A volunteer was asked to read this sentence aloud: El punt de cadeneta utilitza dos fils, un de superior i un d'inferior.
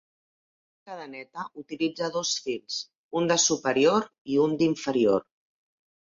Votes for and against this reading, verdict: 1, 2, rejected